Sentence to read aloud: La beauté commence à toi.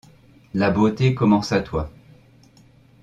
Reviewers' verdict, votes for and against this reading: accepted, 2, 0